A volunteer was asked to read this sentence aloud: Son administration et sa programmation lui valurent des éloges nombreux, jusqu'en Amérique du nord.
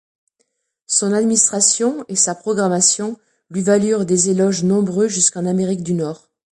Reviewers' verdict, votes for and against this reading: accepted, 2, 1